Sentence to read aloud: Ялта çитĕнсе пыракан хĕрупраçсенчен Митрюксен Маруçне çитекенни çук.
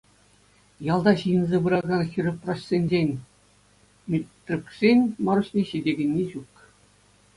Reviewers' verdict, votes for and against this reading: accepted, 2, 0